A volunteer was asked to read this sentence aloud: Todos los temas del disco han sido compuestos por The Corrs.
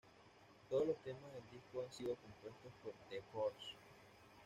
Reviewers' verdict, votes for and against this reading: accepted, 2, 0